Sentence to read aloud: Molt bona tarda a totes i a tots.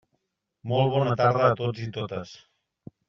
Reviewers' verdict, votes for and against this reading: rejected, 0, 2